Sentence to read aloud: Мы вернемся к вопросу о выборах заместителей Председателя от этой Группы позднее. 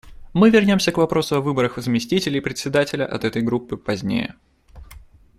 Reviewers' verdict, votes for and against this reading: accepted, 2, 0